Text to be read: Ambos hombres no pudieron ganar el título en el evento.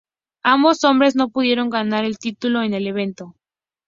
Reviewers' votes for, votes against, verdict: 2, 0, accepted